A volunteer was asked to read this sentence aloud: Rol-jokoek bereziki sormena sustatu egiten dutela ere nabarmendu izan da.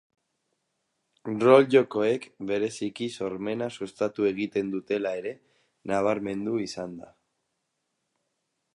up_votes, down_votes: 6, 0